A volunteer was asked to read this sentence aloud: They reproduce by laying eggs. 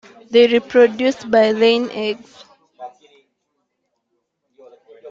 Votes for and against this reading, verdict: 2, 0, accepted